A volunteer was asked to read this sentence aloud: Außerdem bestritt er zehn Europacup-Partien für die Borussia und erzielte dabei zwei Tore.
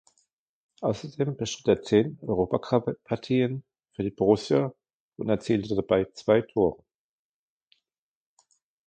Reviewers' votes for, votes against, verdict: 0, 2, rejected